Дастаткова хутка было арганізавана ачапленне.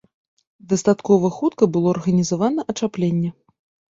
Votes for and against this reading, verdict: 2, 0, accepted